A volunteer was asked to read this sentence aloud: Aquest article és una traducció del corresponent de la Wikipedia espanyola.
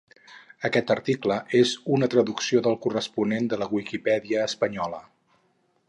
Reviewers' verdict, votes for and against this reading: rejected, 2, 2